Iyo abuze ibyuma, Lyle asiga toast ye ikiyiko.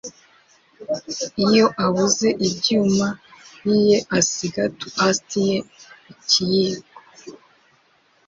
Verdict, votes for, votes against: rejected, 0, 2